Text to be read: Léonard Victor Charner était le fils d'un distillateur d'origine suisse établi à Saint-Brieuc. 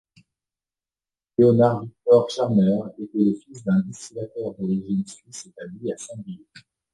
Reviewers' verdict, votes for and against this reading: rejected, 0, 2